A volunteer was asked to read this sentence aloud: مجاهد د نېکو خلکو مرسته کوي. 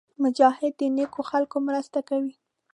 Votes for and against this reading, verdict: 2, 0, accepted